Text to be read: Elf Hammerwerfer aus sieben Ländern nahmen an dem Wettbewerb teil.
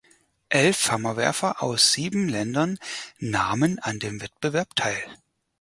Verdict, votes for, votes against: accepted, 4, 0